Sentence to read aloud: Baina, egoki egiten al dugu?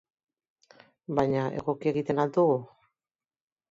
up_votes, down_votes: 2, 0